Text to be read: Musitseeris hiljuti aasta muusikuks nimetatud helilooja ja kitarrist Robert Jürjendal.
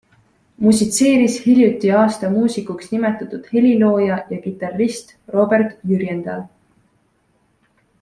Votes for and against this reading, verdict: 2, 0, accepted